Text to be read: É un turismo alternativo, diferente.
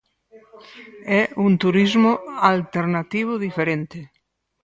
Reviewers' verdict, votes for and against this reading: rejected, 0, 4